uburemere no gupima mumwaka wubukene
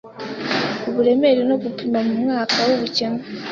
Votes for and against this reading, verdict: 2, 0, accepted